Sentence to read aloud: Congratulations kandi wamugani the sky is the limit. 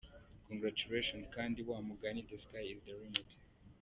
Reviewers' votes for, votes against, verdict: 2, 0, accepted